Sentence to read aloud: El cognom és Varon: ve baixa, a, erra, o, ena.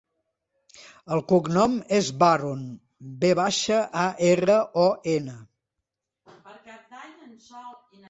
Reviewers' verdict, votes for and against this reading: accepted, 2, 1